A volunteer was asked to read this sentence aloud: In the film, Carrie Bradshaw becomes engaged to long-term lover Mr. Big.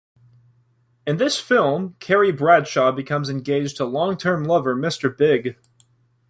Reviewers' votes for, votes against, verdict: 1, 2, rejected